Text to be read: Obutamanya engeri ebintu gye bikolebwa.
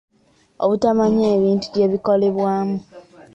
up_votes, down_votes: 1, 3